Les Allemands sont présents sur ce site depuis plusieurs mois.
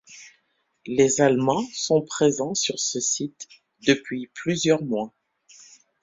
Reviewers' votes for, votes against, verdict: 2, 0, accepted